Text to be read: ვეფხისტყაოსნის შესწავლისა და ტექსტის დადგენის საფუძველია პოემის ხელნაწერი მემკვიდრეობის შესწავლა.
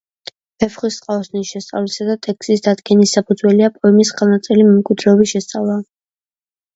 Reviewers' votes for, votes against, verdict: 2, 0, accepted